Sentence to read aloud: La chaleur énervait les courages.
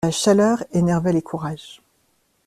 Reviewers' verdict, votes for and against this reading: accepted, 2, 1